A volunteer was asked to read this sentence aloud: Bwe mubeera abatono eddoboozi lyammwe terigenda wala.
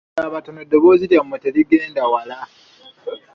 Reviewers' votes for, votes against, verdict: 1, 2, rejected